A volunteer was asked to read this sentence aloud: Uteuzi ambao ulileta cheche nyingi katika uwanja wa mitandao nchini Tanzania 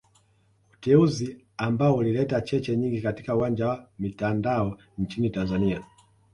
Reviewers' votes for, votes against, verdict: 2, 0, accepted